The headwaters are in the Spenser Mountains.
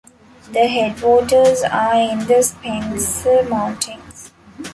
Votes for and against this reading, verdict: 2, 0, accepted